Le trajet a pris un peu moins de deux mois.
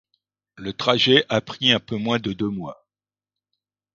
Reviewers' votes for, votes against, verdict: 2, 0, accepted